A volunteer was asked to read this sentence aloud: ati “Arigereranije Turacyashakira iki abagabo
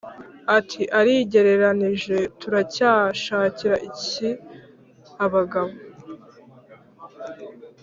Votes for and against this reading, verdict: 2, 1, accepted